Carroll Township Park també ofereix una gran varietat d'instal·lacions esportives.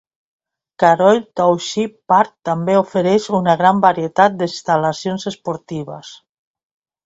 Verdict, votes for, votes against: rejected, 1, 2